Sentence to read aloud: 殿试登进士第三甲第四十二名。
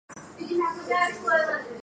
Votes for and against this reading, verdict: 0, 2, rejected